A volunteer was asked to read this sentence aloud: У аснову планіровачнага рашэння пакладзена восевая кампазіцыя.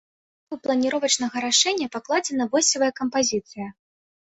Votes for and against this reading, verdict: 0, 2, rejected